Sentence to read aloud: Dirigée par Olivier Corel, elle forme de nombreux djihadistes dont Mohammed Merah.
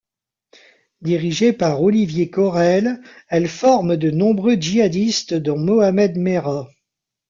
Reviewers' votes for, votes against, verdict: 1, 2, rejected